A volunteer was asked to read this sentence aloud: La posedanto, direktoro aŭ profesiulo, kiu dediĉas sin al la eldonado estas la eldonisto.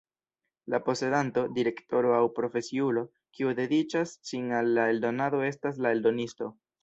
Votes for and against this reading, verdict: 3, 0, accepted